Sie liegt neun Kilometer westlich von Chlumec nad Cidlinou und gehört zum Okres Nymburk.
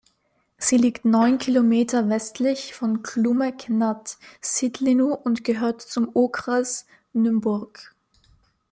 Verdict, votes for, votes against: accepted, 2, 0